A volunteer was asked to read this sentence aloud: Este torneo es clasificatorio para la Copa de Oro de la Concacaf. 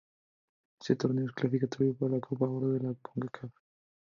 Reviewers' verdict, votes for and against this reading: rejected, 0, 2